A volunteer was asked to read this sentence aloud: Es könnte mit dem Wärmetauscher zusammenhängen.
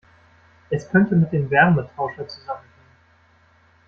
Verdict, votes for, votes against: rejected, 1, 2